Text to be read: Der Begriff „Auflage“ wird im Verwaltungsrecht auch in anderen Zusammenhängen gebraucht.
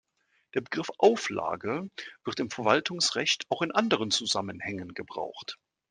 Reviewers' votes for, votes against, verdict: 2, 0, accepted